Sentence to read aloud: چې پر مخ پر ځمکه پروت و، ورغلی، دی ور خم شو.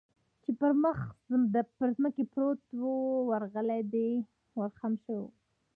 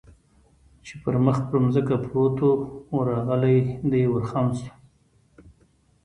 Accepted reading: second